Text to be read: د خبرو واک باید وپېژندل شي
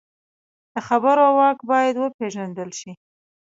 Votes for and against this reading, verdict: 2, 0, accepted